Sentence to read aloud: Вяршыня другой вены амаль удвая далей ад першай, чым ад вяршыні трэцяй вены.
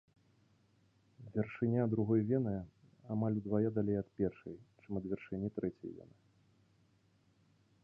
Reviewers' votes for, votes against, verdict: 1, 2, rejected